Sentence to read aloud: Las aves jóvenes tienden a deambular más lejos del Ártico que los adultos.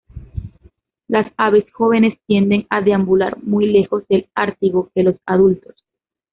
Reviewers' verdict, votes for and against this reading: rejected, 0, 2